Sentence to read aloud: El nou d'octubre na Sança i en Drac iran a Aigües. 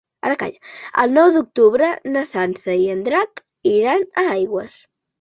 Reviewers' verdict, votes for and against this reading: rejected, 0, 3